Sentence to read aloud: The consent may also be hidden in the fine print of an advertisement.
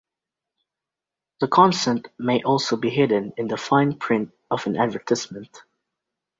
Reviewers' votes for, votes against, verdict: 1, 2, rejected